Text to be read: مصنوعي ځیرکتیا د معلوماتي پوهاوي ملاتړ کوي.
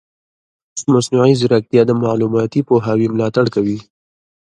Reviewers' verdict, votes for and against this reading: accepted, 2, 1